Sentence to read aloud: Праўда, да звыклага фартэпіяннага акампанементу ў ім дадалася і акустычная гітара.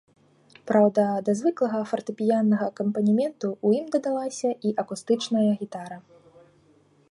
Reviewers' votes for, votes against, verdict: 2, 0, accepted